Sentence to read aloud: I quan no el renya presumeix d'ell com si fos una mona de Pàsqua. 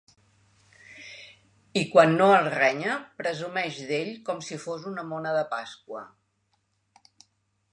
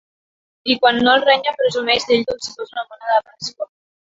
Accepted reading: first